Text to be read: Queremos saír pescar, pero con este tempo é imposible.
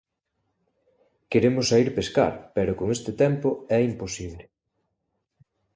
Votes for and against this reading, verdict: 2, 0, accepted